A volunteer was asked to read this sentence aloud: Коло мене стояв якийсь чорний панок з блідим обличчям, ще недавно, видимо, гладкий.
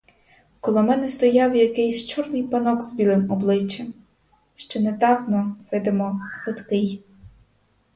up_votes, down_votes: 2, 2